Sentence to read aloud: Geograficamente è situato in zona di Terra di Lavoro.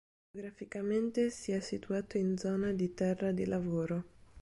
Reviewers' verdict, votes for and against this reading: rejected, 0, 4